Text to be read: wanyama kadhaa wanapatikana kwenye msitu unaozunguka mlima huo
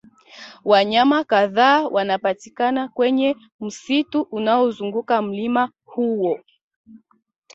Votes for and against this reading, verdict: 2, 0, accepted